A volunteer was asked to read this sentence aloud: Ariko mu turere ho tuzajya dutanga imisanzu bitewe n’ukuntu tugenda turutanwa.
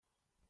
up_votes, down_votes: 0, 2